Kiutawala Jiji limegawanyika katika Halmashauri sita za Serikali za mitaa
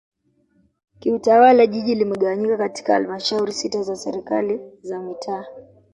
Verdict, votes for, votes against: rejected, 1, 2